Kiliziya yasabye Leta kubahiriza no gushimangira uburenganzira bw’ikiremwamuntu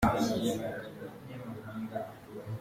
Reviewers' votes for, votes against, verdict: 0, 2, rejected